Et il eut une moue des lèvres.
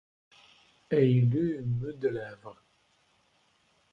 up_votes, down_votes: 1, 2